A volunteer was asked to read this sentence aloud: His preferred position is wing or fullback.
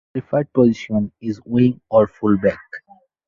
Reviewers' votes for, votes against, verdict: 0, 4, rejected